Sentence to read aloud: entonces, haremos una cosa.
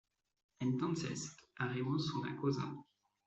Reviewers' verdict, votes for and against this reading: accepted, 2, 0